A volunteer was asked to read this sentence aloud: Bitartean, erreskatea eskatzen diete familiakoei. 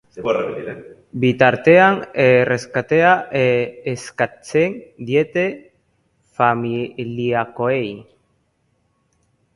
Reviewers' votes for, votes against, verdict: 1, 2, rejected